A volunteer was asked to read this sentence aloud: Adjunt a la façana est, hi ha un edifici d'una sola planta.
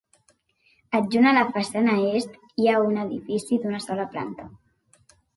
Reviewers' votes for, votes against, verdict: 2, 0, accepted